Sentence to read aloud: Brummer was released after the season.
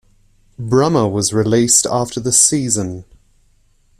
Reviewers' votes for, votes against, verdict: 2, 0, accepted